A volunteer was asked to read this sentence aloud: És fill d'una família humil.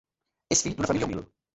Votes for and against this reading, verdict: 0, 2, rejected